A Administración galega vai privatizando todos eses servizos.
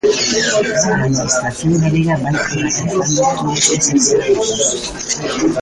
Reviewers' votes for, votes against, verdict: 0, 2, rejected